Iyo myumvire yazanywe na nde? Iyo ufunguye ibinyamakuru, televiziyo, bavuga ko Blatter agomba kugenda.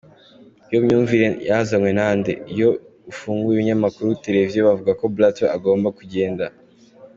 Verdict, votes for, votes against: accepted, 3, 1